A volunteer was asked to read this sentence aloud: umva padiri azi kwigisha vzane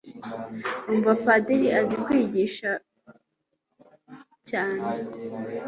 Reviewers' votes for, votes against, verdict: 0, 2, rejected